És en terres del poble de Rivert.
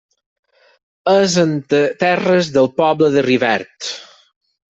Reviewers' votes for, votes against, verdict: 2, 4, rejected